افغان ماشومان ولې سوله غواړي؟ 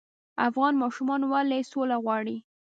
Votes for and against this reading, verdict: 2, 1, accepted